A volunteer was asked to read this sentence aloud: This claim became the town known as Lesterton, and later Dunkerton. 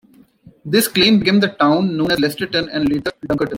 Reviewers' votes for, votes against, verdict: 0, 2, rejected